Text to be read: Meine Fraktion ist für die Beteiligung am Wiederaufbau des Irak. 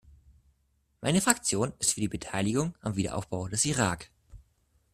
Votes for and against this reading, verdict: 2, 0, accepted